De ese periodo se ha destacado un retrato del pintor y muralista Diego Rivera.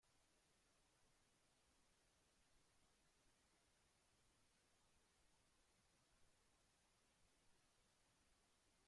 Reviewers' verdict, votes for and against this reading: rejected, 1, 2